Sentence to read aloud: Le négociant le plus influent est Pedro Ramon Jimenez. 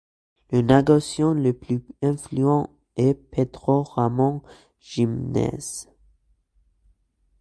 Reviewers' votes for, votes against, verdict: 2, 0, accepted